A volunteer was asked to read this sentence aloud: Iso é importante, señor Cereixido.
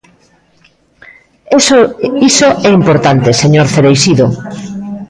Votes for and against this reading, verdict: 0, 2, rejected